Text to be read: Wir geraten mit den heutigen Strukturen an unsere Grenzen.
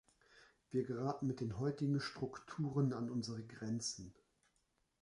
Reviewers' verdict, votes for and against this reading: accepted, 2, 0